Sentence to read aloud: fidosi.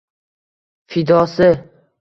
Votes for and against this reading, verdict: 1, 2, rejected